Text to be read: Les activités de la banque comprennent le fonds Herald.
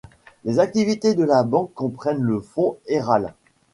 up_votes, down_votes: 2, 1